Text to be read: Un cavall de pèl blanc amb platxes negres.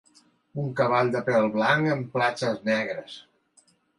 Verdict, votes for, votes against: accepted, 2, 0